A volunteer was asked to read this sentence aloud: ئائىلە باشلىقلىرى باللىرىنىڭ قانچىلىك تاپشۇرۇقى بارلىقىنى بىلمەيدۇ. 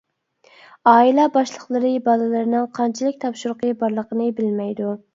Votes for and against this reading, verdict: 2, 0, accepted